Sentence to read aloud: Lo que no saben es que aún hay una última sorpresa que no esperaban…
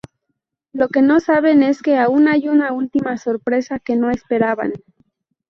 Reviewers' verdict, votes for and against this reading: rejected, 0, 2